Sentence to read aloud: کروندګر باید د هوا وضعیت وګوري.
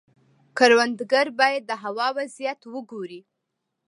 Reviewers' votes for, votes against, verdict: 2, 1, accepted